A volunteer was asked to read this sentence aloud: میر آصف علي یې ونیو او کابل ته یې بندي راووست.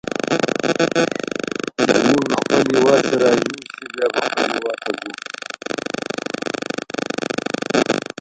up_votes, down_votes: 0, 2